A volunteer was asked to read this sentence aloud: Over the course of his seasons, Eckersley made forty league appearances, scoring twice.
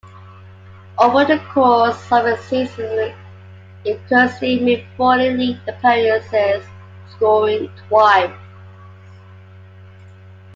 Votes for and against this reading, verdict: 1, 2, rejected